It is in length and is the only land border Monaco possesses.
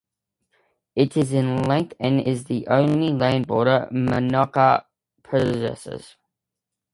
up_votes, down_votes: 2, 0